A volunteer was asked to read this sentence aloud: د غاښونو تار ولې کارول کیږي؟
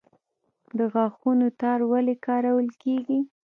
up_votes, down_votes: 2, 0